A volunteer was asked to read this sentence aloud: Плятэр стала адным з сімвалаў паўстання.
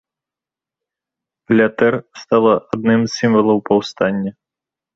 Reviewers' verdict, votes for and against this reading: accepted, 2, 1